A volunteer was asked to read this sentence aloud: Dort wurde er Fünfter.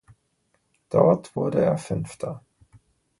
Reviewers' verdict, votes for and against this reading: accepted, 2, 0